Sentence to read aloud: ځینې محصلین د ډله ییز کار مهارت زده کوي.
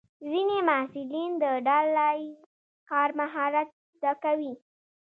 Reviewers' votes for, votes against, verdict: 1, 2, rejected